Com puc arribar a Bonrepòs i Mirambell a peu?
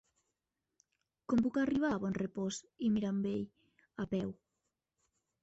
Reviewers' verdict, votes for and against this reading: rejected, 1, 2